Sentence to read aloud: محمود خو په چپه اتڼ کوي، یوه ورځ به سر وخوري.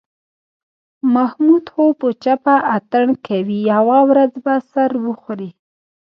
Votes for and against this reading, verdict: 0, 2, rejected